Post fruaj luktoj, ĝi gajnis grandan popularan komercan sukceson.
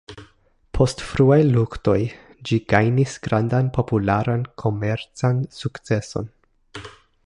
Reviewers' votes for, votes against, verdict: 2, 1, accepted